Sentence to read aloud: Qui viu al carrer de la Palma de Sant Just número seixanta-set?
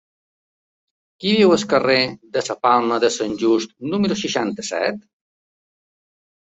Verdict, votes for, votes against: rejected, 0, 2